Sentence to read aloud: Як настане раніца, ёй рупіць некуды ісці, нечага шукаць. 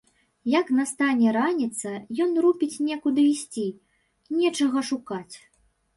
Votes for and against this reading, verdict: 1, 2, rejected